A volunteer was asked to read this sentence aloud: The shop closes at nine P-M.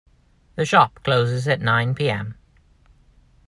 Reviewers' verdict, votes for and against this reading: accepted, 2, 0